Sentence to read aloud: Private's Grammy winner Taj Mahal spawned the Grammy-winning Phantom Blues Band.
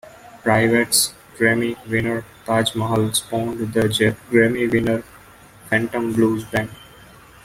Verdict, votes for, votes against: rejected, 0, 2